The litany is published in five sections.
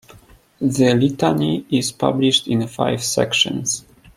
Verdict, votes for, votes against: accepted, 2, 0